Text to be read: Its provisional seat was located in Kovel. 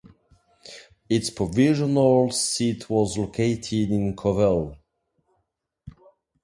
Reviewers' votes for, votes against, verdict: 2, 0, accepted